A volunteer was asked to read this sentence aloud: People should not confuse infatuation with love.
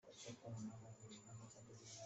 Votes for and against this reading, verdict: 0, 2, rejected